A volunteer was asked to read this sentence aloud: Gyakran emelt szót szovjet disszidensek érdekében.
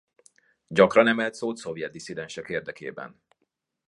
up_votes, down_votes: 2, 0